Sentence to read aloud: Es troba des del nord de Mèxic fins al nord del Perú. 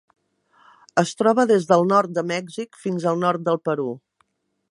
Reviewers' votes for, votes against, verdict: 2, 0, accepted